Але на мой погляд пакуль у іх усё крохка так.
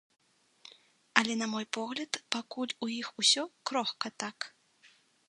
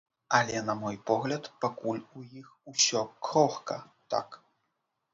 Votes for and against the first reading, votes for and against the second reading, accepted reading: 3, 0, 1, 2, first